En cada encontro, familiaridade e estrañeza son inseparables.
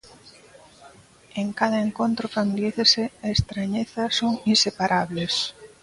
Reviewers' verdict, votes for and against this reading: rejected, 0, 2